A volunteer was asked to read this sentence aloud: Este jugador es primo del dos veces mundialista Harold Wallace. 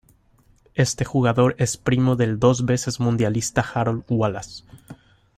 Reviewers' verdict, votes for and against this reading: accepted, 2, 0